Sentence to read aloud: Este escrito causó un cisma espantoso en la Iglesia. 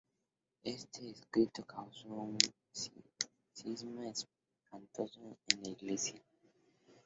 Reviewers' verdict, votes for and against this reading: rejected, 2, 2